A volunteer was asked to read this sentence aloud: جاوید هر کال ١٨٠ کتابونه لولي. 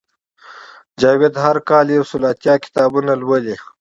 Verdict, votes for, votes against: rejected, 0, 2